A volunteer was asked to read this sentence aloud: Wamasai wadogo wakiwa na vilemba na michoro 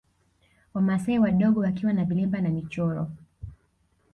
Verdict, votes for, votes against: accepted, 2, 0